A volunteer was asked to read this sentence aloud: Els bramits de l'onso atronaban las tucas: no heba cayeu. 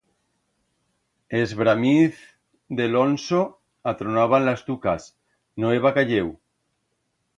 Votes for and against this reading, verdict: 1, 2, rejected